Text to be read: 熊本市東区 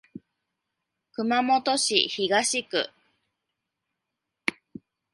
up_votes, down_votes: 2, 0